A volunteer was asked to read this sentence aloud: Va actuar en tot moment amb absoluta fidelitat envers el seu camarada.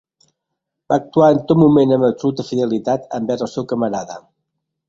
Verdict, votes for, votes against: accepted, 2, 0